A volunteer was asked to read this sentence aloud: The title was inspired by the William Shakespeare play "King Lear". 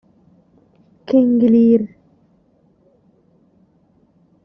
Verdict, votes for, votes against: rejected, 0, 2